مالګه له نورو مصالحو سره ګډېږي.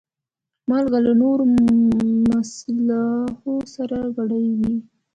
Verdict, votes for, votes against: accepted, 2, 1